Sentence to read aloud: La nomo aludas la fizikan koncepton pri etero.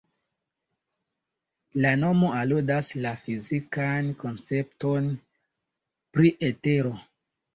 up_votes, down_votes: 2, 1